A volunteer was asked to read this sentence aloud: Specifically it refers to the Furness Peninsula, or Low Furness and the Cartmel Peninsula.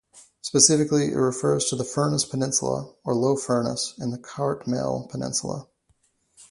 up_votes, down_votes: 2, 0